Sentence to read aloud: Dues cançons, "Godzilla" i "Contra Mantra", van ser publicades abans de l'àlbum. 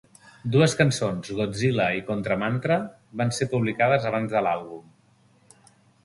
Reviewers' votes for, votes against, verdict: 4, 0, accepted